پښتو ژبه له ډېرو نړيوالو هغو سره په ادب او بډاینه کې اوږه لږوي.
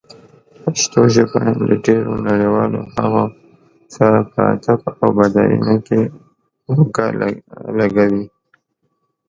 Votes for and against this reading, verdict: 1, 2, rejected